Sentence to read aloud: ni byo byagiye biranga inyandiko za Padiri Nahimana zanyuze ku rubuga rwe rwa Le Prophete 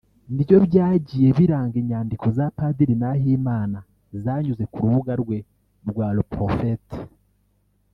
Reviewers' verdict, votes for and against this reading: rejected, 0, 2